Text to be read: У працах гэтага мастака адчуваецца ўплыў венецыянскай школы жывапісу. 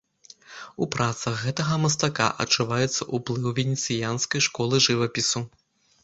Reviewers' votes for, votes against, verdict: 2, 0, accepted